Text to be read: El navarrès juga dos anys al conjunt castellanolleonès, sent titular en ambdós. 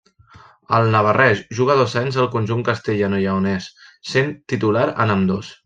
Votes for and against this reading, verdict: 1, 2, rejected